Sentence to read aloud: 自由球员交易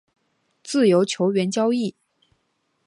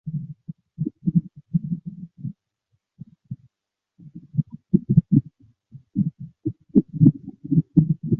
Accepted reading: first